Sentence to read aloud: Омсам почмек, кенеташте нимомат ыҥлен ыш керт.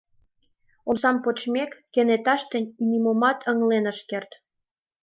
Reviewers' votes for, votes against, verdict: 2, 0, accepted